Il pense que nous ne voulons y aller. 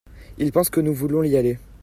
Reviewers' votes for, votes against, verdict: 0, 2, rejected